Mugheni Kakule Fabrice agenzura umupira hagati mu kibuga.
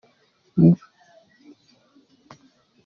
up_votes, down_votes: 0, 2